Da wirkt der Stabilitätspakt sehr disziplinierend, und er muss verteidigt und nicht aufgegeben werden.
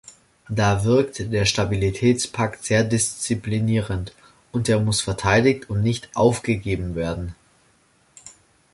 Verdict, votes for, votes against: accepted, 2, 0